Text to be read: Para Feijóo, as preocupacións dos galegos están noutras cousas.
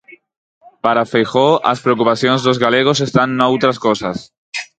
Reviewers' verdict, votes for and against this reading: rejected, 2, 4